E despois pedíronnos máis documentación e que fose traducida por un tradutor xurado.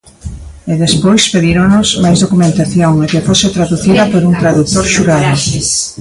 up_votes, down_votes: 0, 2